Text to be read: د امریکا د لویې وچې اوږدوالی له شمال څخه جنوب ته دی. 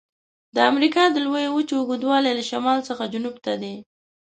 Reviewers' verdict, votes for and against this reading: accepted, 2, 0